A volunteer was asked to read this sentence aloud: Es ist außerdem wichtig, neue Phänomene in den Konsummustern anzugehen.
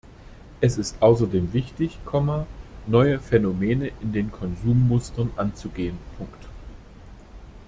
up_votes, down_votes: 1, 2